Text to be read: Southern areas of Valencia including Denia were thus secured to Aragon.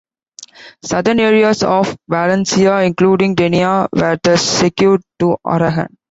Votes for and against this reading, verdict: 1, 2, rejected